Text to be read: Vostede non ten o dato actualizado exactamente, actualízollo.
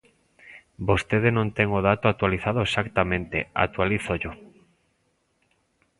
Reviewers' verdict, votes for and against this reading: rejected, 1, 2